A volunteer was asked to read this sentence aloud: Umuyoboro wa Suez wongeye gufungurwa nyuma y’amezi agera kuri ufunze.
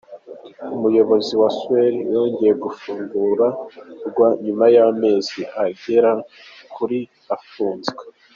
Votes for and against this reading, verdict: 1, 2, rejected